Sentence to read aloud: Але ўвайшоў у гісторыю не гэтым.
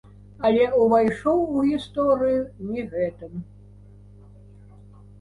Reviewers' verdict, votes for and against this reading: rejected, 1, 2